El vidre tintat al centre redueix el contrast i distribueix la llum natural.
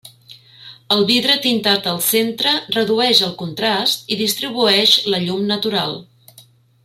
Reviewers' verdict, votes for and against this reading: accepted, 3, 0